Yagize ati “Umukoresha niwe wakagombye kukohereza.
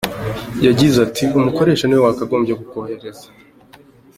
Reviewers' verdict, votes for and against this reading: accepted, 2, 0